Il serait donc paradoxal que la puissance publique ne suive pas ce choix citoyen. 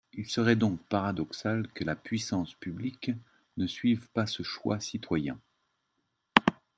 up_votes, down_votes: 2, 0